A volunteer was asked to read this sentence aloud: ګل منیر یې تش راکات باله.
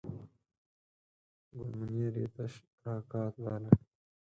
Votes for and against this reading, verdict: 2, 4, rejected